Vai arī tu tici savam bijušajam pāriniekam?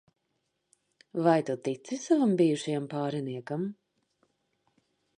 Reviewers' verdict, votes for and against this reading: rejected, 0, 2